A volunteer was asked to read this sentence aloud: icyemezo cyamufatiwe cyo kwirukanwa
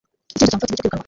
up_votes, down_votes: 0, 3